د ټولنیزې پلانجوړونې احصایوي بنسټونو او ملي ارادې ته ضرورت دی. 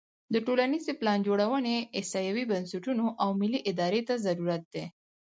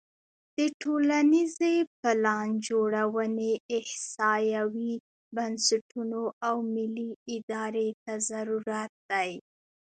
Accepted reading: first